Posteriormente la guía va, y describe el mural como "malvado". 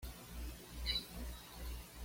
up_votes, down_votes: 1, 2